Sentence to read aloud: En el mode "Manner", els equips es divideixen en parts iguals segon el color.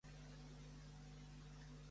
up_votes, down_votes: 0, 2